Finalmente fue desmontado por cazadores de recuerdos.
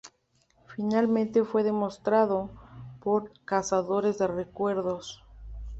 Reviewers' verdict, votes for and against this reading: rejected, 0, 2